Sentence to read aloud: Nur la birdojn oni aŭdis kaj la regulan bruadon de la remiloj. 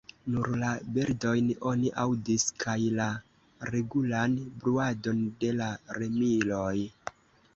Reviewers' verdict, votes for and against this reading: rejected, 1, 2